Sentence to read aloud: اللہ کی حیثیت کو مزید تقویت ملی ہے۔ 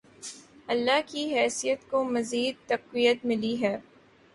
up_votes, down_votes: 2, 0